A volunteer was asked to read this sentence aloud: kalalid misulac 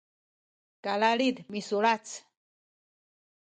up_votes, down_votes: 1, 2